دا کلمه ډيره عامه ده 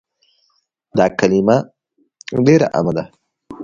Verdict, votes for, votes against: accepted, 2, 0